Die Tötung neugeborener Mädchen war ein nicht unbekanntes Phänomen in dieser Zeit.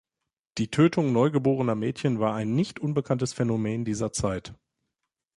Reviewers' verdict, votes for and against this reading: rejected, 0, 2